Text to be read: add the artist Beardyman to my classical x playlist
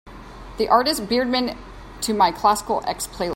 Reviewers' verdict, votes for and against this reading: rejected, 1, 2